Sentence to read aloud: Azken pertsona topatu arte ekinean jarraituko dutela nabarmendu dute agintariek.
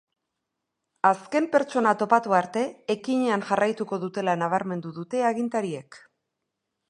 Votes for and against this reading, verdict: 3, 0, accepted